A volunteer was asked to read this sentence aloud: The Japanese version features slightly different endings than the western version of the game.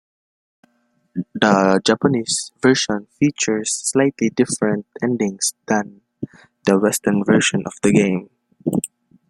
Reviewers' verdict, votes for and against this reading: accepted, 2, 0